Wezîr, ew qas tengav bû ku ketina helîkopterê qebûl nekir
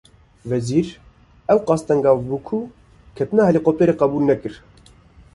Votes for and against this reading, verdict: 1, 2, rejected